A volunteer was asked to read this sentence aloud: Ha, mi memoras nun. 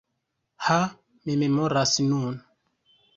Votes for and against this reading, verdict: 1, 2, rejected